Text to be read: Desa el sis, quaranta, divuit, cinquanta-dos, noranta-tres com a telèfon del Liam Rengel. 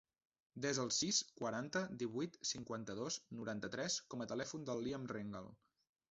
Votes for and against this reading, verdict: 1, 2, rejected